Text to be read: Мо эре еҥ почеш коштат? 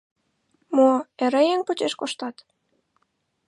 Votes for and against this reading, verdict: 0, 2, rejected